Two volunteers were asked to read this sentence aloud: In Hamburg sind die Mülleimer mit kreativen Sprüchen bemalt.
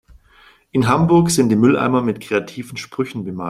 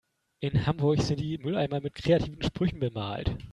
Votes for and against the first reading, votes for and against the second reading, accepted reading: 1, 2, 2, 0, second